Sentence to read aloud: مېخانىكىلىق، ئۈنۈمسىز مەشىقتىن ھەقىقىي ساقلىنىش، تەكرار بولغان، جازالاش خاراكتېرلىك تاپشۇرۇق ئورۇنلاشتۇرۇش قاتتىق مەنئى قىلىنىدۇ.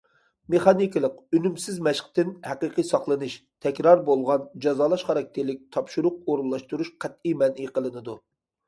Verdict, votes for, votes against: rejected, 1, 2